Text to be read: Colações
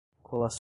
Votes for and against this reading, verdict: 0, 2, rejected